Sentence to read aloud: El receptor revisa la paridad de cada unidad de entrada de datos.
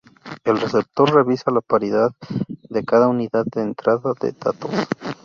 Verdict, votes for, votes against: accepted, 2, 0